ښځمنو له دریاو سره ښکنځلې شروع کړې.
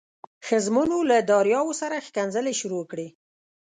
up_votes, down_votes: 2, 0